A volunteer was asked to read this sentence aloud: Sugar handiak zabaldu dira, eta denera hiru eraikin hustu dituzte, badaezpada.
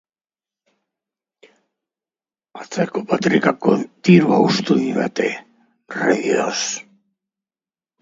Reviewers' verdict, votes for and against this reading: rejected, 1, 3